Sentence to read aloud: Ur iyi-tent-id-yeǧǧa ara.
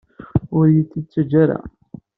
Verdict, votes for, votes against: rejected, 0, 2